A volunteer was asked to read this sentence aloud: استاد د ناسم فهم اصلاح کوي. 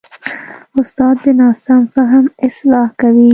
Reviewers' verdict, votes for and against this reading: accepted, 2, 0